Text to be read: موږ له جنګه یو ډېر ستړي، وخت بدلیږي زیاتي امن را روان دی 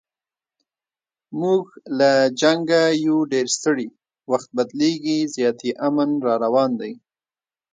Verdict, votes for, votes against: rejected, 0, 2